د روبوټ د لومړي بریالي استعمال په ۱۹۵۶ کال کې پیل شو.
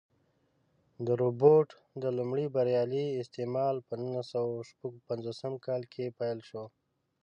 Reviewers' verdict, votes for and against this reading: rejected, 0, 2